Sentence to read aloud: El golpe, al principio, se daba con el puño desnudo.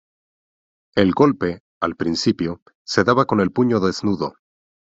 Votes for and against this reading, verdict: 2, 0, accepted